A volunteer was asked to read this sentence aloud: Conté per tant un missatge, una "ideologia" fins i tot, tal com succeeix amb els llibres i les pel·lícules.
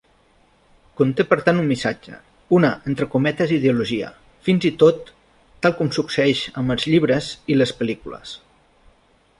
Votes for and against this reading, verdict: 0, 2, rejected